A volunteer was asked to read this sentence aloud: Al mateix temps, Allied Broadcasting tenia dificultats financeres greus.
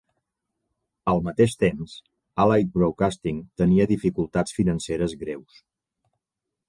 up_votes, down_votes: 2, 0